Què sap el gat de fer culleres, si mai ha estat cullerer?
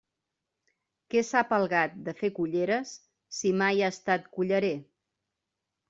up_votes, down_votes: 1, 2